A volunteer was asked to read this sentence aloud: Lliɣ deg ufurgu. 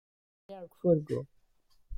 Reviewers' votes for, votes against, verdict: 0, 2, rejected